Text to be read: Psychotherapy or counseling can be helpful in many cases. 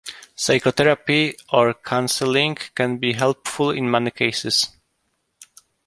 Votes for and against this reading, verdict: 2, 0, accepted